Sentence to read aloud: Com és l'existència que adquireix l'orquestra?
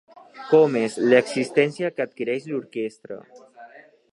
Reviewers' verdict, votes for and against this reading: accepted, 3, 0